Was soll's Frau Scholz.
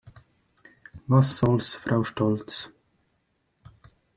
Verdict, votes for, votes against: rejected, 1, 2